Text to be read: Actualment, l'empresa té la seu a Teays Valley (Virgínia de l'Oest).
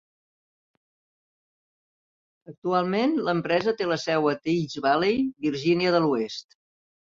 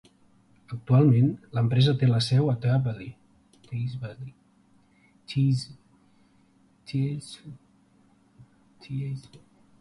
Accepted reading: first